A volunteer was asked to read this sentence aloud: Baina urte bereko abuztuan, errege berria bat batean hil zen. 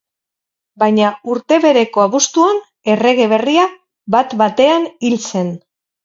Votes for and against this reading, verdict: 4, 4, rejected